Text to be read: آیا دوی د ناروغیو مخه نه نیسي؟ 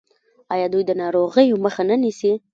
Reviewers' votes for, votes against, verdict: 1, 2, rejected